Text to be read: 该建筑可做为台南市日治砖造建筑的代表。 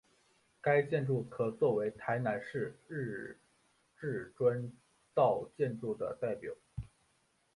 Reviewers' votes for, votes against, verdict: 0, 5, rejected